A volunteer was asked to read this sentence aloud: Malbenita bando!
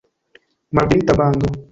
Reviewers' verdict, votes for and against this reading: rejected, 0, 2